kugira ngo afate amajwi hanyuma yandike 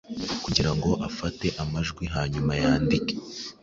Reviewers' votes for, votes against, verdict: 2, 0, accepted